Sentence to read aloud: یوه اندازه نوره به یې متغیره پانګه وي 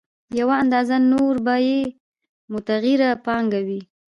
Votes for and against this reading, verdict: 2, 0, accepted